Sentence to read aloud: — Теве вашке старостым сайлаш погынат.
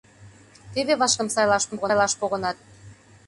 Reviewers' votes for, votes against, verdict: 0, 2, rejected